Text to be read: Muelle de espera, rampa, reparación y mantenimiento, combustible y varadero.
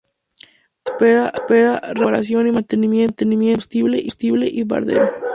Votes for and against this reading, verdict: 0, 4, rejected